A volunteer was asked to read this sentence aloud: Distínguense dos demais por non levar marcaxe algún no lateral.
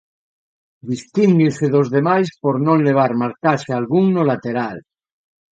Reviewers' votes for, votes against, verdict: 1, 2, rejected